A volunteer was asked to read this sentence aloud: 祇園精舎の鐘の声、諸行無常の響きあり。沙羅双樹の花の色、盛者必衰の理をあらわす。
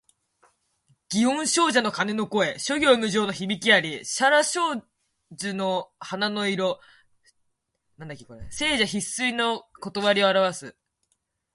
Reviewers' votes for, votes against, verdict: 1, 2, rejected